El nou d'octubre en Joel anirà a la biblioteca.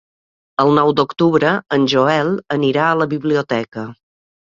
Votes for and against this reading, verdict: 3, 0, accepted